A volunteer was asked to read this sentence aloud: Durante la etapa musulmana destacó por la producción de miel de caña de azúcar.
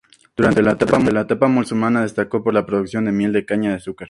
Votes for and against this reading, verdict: 0, 2, rejected